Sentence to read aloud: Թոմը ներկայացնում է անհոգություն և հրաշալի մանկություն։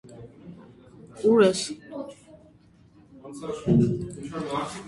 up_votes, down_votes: 0, 2